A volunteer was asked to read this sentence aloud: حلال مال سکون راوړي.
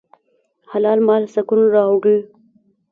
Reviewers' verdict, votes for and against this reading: rejected, 0, 2